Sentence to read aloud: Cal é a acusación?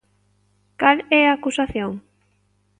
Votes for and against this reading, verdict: 2, 0, accepted